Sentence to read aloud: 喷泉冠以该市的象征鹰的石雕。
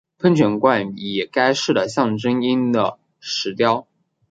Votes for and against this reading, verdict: 2, 0, accepted